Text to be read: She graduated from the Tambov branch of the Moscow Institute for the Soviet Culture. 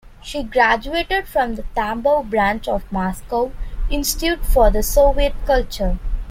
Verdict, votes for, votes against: rejected, 0, 2